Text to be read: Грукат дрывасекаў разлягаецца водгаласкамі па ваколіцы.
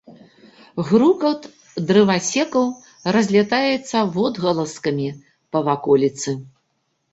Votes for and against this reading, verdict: 0, 2, rejected